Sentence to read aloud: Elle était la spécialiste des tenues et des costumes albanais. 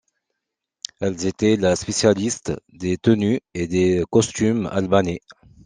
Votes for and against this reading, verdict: 1, 2, rejected